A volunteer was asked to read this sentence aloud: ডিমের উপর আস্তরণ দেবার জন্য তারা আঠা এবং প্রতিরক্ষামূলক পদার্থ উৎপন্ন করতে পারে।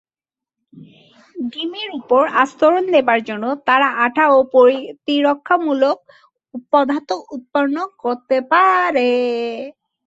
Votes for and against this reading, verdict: 0, 2, rejected